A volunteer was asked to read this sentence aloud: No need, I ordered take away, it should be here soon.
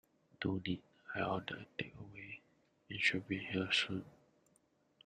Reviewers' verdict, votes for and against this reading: rejected, 1, 2